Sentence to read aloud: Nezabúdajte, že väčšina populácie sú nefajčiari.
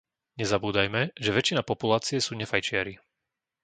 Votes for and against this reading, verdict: 1, 2, rejected